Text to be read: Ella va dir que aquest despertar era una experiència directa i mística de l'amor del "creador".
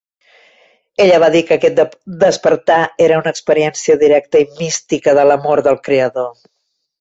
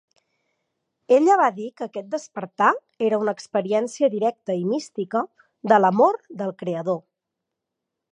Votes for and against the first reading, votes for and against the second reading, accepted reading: 1, 4, 12, 3, second